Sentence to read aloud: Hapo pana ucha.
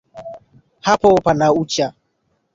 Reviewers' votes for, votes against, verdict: 0, 2, rejected